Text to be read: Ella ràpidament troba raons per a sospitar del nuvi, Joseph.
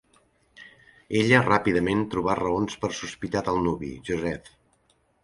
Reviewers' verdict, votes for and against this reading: rejected, 0, 2